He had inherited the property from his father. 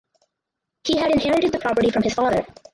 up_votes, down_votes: 0, 4